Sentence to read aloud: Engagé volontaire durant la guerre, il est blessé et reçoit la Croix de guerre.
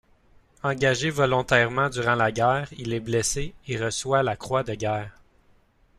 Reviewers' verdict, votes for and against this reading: rejected, 0, 2